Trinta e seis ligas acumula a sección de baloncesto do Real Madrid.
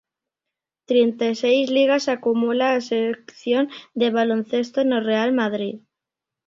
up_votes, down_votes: 0, 3